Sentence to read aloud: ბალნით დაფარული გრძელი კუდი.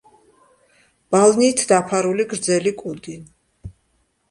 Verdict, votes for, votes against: accepted, 2, 0